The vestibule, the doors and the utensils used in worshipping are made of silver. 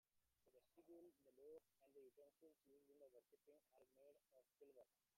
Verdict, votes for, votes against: rejected, 0, 2